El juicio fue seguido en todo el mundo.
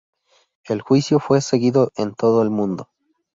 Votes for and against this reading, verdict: 2, 0, accepted